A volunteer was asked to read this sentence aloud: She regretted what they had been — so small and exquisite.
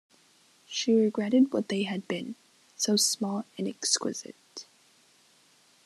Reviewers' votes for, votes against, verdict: 2, 0, accepted